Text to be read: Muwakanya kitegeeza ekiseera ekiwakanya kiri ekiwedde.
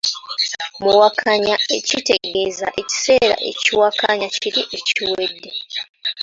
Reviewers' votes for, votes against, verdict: 0, 2, rejected